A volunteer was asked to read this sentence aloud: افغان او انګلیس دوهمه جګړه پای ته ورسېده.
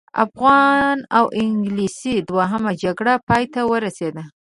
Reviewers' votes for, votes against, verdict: 0, 2, rejected